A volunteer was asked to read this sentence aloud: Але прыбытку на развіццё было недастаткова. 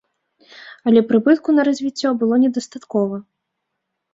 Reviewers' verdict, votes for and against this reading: accepted, 2, 0